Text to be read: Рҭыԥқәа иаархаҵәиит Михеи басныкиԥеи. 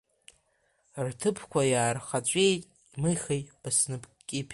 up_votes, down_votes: 1, 2